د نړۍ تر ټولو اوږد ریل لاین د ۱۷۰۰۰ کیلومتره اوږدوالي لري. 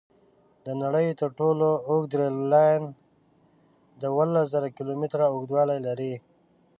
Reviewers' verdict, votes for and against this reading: rejected, 0, 2